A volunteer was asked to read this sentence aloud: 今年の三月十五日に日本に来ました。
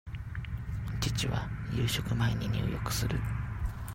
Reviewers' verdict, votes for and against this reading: rejected, 0, 2